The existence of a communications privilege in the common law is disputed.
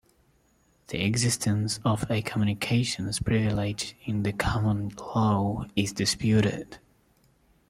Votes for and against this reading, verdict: 2, 0, accepted